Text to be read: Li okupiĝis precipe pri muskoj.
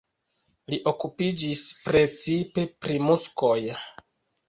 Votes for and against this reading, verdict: 0, 2, rejected